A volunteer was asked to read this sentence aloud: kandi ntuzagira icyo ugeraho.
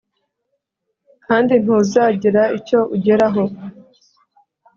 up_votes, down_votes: 5, 0